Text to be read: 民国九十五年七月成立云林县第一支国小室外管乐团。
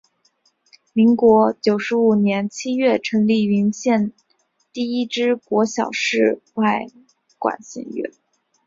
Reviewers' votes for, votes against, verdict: 2, 3, rejected